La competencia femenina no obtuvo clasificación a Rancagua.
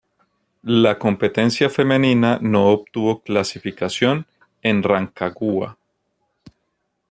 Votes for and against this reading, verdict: 0, 2, rejected